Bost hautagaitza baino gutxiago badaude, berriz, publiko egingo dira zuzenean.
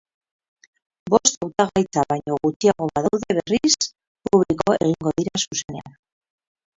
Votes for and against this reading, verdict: 0, 4, rejected